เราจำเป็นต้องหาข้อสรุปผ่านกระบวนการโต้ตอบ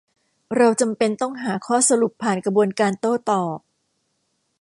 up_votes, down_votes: 2, 0